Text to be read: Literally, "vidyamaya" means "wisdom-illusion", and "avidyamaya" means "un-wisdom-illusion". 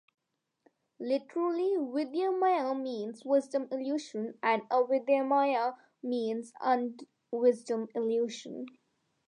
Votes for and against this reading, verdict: 2, 0, accepted